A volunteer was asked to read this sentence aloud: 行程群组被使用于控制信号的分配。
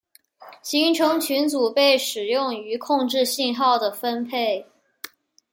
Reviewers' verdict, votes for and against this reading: accepted, 2, 0